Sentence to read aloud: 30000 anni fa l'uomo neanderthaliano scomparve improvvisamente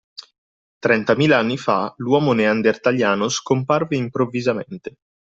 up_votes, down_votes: 0, 2